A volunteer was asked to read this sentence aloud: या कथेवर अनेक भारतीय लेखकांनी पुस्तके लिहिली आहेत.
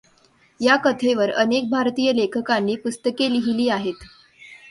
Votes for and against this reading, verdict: 2, 1, accepted